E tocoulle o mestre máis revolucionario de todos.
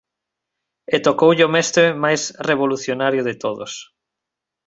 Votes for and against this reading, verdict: 2, 0, accepted